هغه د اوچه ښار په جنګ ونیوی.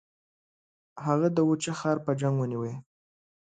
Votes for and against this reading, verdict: 3, 0, accepted